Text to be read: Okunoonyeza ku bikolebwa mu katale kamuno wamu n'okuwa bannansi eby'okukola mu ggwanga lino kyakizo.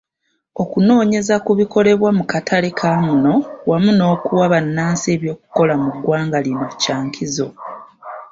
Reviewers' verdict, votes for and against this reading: accepted, 2, 1